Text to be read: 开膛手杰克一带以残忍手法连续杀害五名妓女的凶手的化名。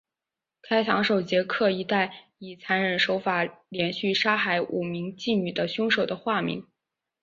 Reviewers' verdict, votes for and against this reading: accepted, 3, 0